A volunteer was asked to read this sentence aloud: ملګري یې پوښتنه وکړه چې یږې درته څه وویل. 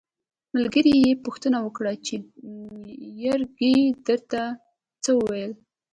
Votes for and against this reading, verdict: 1, 2, rejected